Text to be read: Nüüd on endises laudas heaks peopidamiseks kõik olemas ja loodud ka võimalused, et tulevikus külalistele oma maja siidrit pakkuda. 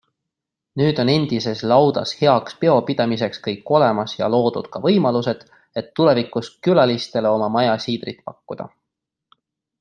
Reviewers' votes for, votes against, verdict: 2, 0, accepted